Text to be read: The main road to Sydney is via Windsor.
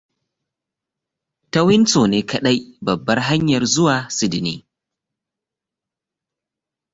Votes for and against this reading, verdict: 0, 2, rejected